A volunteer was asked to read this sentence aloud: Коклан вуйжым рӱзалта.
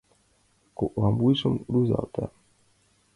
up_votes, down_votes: 2, 0